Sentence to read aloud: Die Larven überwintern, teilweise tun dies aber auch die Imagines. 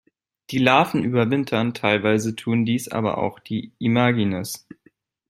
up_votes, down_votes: 2, 0